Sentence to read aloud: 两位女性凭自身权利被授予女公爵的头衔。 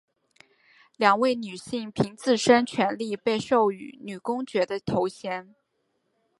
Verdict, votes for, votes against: accepted, 3, 0